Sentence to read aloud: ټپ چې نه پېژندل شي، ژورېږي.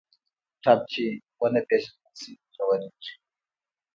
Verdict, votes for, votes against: accepted, 2, 0